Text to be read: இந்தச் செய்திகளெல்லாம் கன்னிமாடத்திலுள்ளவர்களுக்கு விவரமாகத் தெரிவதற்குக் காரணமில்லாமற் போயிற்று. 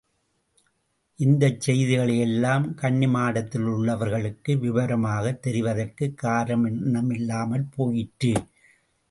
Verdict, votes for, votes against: rejected, 0, 2